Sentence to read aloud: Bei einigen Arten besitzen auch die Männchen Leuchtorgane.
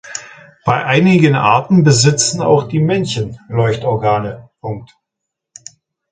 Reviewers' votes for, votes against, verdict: 0, 2, rejected